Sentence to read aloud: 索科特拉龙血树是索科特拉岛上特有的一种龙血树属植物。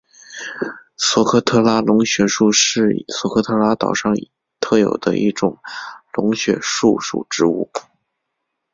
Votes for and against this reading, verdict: 3, 0, accepted